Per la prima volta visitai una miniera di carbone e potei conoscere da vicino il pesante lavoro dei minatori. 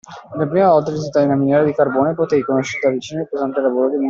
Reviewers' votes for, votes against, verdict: 0, 2, rejected